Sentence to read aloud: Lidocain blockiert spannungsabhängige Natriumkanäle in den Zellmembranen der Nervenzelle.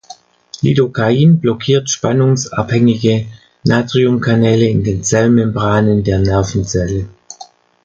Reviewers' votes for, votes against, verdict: 0, 2, rejected